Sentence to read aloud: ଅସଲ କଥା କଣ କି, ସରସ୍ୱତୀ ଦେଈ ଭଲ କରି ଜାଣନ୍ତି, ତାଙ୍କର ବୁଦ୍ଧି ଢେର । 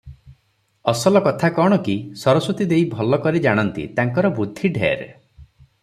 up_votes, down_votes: 3, 0